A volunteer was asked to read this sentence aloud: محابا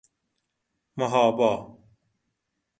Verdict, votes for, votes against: rejected, 0, 2